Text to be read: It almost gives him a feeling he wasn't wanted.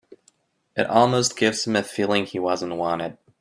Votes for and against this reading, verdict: 4, 0, accepted